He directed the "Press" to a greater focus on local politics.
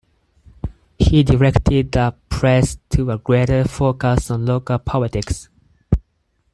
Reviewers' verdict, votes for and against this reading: accepted, 4, 0